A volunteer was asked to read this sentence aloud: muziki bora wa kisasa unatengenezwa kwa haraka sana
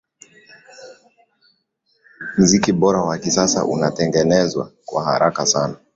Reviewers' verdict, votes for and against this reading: accepted, 2, 0